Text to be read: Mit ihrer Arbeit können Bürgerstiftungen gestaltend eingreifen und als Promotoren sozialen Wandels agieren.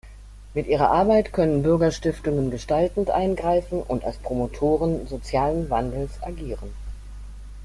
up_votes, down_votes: 2, 0